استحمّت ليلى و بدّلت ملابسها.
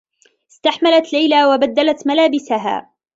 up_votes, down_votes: 0, 2